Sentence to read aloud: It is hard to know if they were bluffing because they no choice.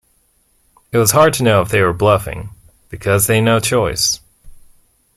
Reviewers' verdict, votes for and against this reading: rejected, 0, 2